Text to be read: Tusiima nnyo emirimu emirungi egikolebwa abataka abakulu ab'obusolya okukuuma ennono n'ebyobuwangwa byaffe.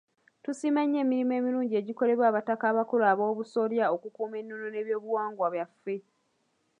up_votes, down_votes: 2, 0